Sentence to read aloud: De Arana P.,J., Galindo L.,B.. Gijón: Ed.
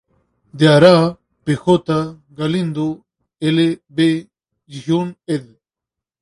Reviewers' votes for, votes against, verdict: 0, 2, rejected